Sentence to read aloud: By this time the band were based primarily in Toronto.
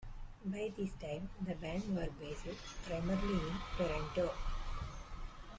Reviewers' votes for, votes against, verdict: 1, 2, rejected